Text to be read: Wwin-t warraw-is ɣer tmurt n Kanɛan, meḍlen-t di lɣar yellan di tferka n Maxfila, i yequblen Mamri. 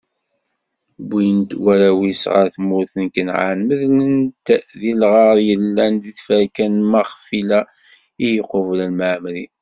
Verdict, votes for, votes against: rejected, 1, 2